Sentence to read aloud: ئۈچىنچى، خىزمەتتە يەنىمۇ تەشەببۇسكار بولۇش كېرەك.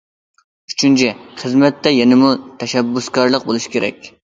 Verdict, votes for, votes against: rejected, 0, 2